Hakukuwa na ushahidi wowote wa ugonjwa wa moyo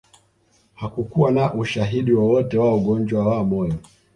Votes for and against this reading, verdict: 2, 0, accepted